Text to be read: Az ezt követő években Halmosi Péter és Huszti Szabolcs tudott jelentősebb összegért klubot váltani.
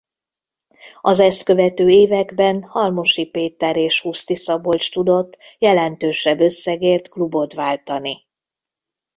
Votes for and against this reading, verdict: 1, 2, rejected